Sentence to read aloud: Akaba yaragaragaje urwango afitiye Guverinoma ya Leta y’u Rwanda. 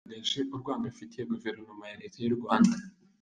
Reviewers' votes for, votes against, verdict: 0, 2, rejected